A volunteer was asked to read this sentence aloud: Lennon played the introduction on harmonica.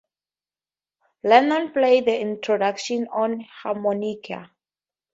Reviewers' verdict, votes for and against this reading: accepted, 2, 0